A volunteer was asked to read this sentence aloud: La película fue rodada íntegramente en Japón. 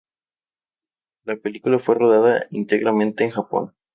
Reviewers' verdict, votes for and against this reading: accepted, 2, 0